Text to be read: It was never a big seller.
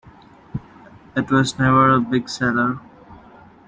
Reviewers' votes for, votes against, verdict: 2, 0, accepted